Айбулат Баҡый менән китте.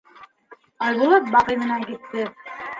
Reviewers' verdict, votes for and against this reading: accepted, 2, 1